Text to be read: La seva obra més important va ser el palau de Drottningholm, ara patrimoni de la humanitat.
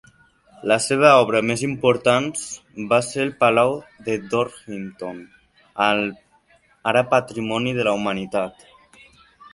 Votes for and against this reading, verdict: 1, 2, rejected